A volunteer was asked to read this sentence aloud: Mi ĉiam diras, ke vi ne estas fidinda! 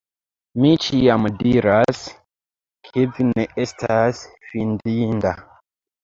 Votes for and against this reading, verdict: 1, 2, rejected